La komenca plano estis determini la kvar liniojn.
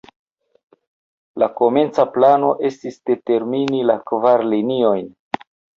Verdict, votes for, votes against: rejected, 0, 2